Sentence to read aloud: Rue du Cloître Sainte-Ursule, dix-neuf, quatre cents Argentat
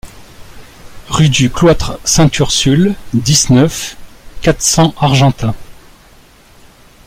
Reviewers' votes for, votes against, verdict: 2, 1, accepted